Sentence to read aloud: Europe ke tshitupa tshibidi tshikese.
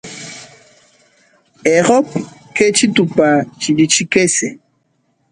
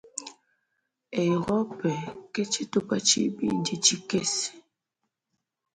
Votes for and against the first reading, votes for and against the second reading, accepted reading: 1, 2, 2, 1, second